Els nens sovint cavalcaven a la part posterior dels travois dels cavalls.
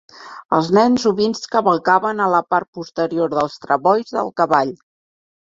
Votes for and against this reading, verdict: 0, 2, rejected